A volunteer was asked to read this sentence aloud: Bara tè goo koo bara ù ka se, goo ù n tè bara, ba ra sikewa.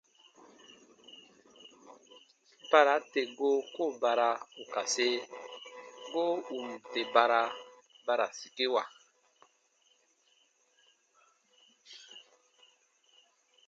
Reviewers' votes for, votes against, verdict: 2, 0, accepted